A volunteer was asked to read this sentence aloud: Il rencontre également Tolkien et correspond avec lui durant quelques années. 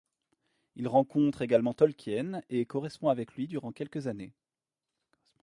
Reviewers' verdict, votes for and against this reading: accepted, 3, 0